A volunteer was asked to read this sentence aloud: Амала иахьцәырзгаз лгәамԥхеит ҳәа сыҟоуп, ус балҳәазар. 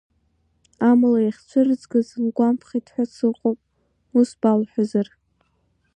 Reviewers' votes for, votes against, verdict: 2, 0, accepted